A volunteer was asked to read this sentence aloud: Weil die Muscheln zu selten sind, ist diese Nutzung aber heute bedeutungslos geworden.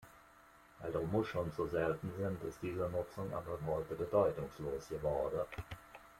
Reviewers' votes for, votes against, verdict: 2, 0, accepted